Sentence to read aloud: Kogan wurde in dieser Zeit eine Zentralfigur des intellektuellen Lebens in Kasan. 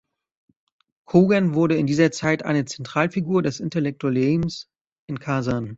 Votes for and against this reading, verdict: 1, 2, rejected